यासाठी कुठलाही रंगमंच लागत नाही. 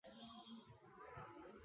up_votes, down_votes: 0, 2